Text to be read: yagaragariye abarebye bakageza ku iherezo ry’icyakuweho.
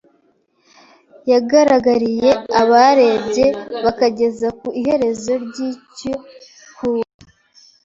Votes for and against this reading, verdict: 1, 2, rejected